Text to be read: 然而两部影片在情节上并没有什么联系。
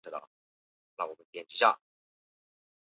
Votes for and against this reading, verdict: 0, 3, rejected